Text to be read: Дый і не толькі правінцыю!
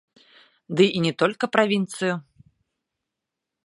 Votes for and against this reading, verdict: 0, 2, rejected